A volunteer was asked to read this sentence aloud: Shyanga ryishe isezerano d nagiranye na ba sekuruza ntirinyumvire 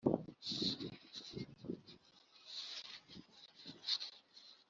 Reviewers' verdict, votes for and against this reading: rejected, 0, 2